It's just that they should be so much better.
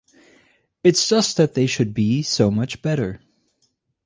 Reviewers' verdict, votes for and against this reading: accepted, 4, 0